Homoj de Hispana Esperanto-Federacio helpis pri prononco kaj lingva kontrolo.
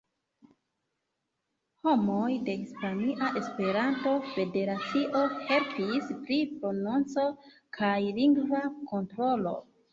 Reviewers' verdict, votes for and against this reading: rejected, 0, 2